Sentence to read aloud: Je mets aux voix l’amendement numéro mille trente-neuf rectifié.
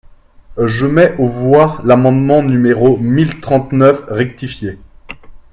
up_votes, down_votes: 2, 0